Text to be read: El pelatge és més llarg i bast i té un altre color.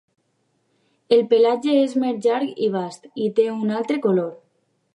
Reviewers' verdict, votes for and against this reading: accepted, 2, 0